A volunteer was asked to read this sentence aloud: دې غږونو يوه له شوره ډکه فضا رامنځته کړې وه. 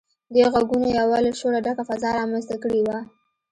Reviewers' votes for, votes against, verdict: 2, 0, accepted